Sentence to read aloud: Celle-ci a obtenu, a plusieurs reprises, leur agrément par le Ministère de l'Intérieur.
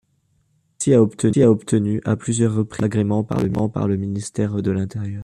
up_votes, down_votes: 1, 2